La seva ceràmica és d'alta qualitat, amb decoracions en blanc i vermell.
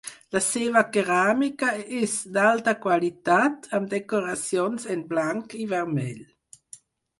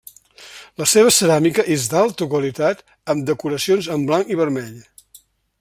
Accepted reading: second